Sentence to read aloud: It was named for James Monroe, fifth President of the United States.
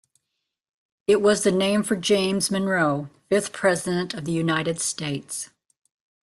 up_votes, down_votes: 0, 2